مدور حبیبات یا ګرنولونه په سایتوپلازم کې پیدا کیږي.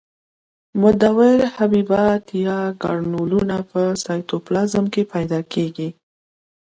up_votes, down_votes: 2, 0